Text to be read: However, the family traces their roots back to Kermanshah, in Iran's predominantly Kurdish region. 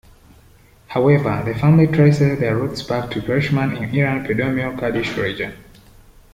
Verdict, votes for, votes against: rejected, 0, 2